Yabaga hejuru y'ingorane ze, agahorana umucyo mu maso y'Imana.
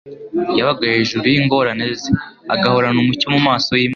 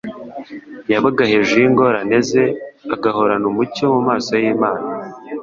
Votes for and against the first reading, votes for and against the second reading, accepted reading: 1, 2, 2, 0, second